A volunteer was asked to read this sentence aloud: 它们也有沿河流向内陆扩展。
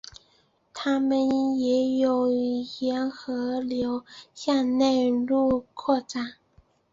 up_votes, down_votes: 2, 0